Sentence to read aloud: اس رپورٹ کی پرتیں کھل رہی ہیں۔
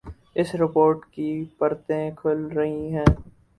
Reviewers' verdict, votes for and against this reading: rejected, 2, 2